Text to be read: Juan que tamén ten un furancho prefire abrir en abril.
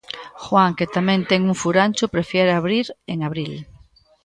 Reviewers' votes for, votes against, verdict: 0, 2, rejected